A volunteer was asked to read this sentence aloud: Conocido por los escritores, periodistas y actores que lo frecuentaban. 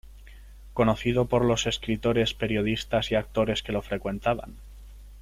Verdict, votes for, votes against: accepted, 2, 1